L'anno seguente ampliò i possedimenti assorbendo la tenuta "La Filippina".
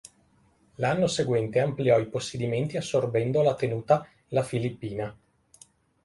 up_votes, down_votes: 2, 0